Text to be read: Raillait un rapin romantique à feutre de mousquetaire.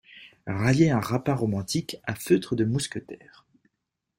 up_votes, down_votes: 2, 0